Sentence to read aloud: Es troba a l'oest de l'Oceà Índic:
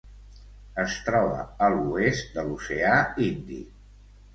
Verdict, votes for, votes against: accepted, 2, 0